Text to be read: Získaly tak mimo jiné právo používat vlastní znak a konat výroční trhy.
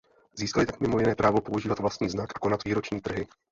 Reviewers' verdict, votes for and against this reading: rejected, 0, 2